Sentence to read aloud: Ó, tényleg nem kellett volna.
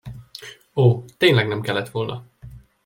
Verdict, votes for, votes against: accepted, 2, 0